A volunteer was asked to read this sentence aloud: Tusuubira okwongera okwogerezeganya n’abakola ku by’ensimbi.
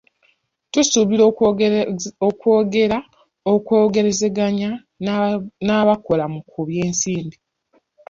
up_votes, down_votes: 0, 2